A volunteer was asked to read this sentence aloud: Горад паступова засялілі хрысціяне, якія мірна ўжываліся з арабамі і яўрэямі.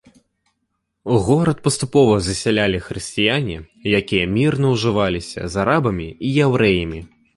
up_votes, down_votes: 2, 1